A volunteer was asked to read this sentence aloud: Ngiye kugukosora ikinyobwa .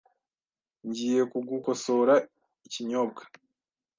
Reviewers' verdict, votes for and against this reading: accepted, 2, 0